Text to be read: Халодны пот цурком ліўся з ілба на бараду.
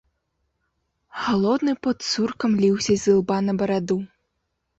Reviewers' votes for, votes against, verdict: 1, 2, rejected